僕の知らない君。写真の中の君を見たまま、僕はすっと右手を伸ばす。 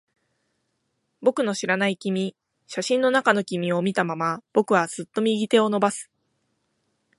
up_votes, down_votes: 18, 1